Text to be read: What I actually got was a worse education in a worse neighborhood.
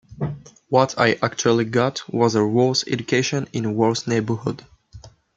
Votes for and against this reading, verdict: 2, 0, accepted